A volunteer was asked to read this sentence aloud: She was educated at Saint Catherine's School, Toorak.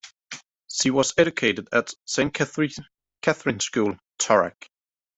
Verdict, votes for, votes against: rejected, 0, 2